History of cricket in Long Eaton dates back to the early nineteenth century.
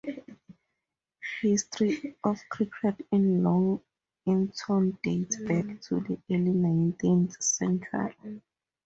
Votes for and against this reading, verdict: 2, 0, accepted